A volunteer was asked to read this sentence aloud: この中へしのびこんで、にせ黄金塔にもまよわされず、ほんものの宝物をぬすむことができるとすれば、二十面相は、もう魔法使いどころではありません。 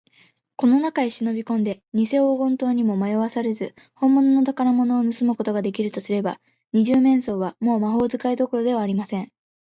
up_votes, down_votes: 2, 0